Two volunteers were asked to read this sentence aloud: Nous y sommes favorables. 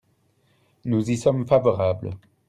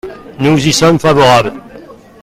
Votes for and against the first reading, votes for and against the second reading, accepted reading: 2, 0, 0, 2, first